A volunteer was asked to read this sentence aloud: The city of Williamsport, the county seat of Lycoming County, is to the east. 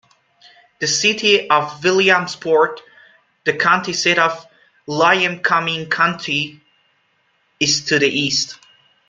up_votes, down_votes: 0, 2